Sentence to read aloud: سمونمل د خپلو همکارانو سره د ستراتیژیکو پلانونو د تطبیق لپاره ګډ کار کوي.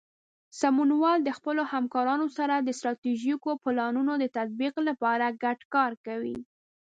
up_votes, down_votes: 1, 2